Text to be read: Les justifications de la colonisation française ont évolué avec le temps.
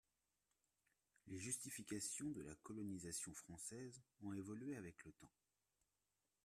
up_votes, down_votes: 2, 1